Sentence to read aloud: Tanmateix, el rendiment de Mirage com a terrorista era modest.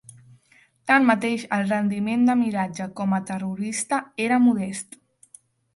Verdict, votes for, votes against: rejected, 1, 2